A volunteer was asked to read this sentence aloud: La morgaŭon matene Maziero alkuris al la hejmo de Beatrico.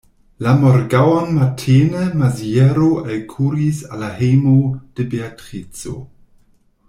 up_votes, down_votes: 1, 2